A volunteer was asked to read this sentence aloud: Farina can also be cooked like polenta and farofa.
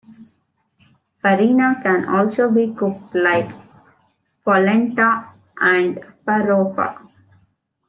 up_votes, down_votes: 2, 0